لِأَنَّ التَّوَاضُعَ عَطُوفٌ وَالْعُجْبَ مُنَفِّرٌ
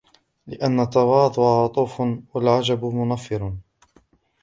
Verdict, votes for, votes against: rejected, 1, 2